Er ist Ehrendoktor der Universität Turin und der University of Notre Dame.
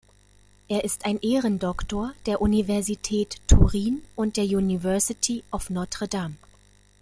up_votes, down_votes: 0, 2